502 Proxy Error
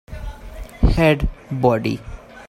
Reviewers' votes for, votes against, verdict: 0, 2, rejected